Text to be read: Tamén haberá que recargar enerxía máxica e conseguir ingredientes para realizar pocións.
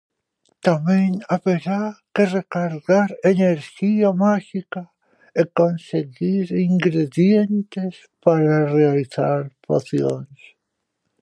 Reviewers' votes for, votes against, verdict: 2, 0, accepted